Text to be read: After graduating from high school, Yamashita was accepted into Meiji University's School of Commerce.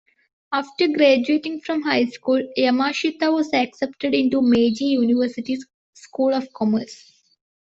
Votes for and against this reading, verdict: 2, 0, accepted